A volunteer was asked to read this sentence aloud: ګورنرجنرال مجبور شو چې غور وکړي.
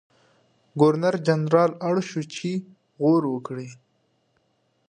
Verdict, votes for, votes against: rejected, 1, 2